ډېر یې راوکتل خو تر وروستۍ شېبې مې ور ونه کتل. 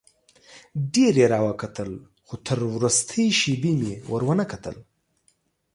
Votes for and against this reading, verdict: 2, 0, accepted